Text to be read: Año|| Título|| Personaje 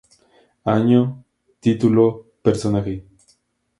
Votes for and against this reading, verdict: 2, 0, accepted